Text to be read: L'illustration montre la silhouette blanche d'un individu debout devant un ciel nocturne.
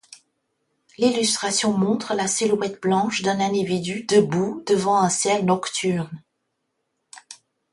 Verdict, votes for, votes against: rejected, 1, 2